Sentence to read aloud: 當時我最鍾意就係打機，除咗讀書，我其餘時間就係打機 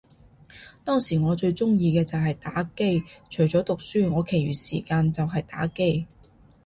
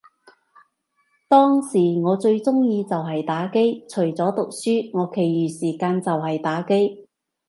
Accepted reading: second